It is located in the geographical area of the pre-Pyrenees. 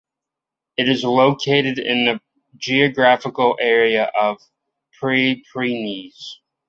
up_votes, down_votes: 0, 3